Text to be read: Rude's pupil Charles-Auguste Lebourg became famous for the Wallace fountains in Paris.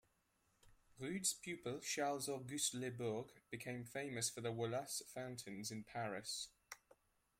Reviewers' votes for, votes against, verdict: 0, 2, rejected